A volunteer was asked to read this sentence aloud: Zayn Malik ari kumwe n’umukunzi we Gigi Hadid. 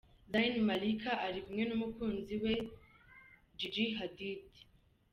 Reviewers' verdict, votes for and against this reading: accepted, 2, 0